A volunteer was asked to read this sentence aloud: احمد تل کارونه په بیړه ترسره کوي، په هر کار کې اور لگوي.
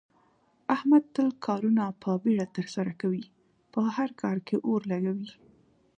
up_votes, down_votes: 1, 2